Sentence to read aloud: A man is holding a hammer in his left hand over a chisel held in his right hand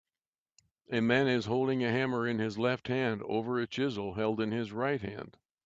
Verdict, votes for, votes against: accepted, 2, 0